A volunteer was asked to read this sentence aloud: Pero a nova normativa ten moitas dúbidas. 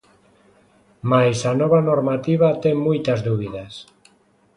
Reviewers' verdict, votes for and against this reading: rejected, 0, 2